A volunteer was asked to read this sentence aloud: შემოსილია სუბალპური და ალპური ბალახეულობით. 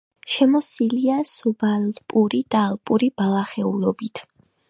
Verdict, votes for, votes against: accepted, 2, 1